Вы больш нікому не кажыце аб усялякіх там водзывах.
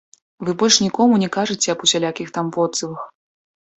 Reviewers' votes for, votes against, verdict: 0, 2, rejected